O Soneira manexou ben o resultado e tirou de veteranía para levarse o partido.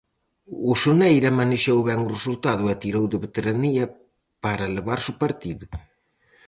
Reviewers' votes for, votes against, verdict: 2, 2, rejected